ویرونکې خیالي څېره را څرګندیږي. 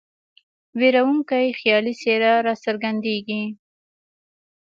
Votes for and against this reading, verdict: 2, 0, accepted